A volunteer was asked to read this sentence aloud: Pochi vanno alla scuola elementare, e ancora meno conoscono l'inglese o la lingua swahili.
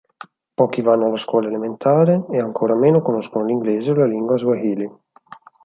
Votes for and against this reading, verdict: 6, 0, accepted